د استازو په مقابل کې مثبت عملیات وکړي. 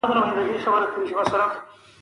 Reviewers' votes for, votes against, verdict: 1, 2, rejected